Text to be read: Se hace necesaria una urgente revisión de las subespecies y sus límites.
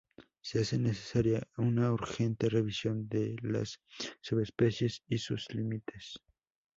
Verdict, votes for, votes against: accepted, 2, 0